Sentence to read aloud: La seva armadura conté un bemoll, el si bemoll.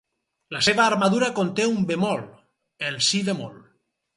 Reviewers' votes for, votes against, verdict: 0, 2, rejected